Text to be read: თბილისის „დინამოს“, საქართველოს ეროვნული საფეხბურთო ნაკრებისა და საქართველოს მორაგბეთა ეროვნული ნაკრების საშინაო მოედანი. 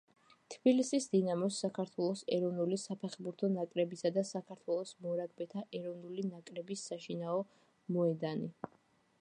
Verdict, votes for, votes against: accepted, 2, 0